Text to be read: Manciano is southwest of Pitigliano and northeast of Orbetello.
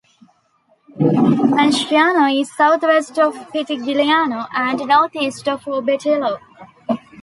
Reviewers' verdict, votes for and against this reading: accepted, 2, 0